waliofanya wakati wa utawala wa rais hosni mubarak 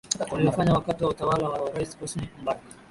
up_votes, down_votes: 2, 0